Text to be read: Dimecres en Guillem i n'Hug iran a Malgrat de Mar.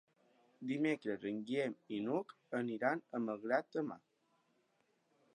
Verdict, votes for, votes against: rejected, 2, 4